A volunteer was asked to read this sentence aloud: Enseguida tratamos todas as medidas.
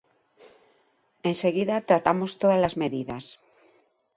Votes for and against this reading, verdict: 2, 0, accepted